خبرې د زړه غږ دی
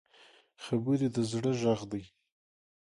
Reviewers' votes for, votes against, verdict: 0, 2, rejected